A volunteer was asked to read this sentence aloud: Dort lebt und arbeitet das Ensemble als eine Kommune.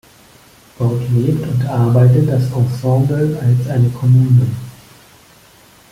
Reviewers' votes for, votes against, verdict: 2, 0, accepted